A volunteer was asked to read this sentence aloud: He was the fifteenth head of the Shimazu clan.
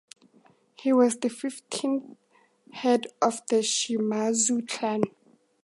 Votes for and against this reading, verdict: 2, 0, accepted